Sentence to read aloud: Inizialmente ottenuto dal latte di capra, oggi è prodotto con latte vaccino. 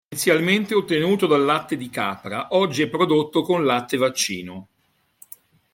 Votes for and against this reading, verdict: 1, 2, rejected